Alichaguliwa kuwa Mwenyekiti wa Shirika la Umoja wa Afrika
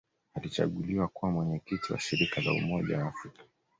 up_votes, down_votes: 2, 0